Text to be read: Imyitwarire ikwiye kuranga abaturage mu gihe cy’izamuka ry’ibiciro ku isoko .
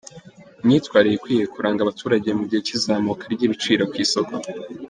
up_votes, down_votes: 3, 0